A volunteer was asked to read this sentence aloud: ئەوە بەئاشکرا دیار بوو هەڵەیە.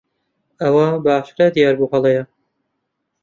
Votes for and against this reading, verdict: 2, 0, accepted